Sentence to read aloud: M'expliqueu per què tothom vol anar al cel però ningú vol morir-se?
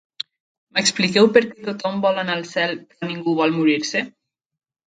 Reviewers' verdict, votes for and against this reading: accepted, 3, 1